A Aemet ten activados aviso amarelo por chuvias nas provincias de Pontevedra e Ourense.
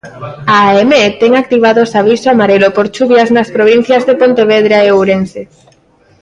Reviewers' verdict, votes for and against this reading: rejected, 1, 2